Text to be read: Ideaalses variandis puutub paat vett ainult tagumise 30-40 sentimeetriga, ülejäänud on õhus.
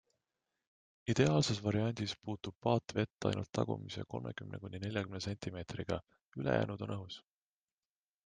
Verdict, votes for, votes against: rejected, 0, 2